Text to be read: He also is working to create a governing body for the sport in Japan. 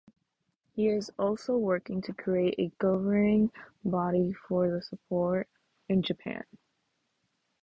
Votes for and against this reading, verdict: 0, 2, rejected